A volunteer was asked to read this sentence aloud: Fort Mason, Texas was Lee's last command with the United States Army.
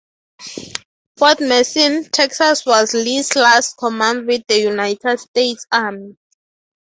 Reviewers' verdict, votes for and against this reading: accepted, 6, 0